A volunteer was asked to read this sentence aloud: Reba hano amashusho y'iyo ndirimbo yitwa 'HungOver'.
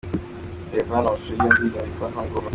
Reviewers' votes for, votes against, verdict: 2, 0, accepted